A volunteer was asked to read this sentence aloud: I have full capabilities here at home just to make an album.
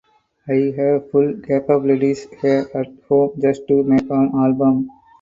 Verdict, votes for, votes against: rejected, 2, 4